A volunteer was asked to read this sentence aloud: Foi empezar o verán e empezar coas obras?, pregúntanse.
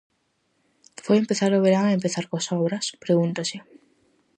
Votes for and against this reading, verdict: 0, 4, rejected